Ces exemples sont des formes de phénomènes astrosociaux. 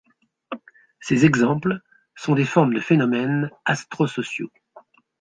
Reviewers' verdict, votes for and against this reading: accepted, 2, 0